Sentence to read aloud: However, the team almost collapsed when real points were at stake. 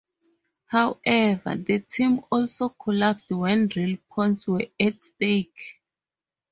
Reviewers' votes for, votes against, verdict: 0, 4, rejected